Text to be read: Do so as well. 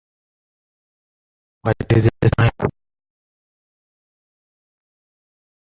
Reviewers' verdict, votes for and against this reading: rejected, 0, 2